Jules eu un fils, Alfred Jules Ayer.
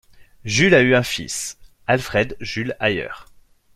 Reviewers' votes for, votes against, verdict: 1, 2, rejected